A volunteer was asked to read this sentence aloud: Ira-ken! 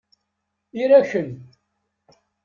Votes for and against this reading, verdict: 1, 2, rejected